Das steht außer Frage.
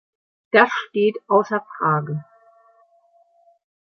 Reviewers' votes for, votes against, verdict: 2, 0, accepted